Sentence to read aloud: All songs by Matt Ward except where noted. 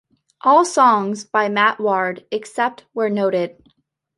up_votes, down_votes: 2, 0